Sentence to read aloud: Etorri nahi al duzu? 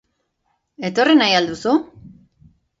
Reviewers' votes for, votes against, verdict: 2, 0, accepted